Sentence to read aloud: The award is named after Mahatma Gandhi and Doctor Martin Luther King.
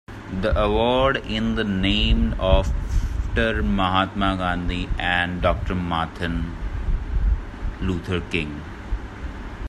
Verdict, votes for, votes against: rejected, 0, 2